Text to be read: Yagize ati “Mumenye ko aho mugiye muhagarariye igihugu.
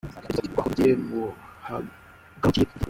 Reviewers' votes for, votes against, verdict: 0, 2, rejected